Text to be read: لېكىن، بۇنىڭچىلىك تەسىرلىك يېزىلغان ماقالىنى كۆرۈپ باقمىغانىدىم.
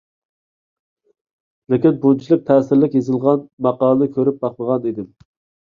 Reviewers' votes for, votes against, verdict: 0, 2, rejected